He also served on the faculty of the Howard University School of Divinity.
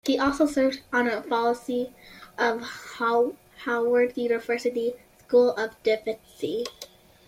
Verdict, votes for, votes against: rejected, 0, 2